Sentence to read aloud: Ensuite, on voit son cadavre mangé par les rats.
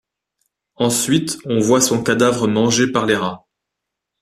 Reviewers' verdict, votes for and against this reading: accepted, 2, 0